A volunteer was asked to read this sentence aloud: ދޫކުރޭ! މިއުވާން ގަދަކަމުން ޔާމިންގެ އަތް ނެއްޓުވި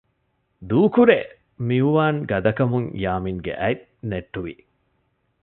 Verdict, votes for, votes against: accepted, 2, 0